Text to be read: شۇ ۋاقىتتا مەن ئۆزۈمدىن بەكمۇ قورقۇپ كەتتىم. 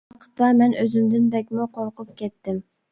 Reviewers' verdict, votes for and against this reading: rejected, 0, 2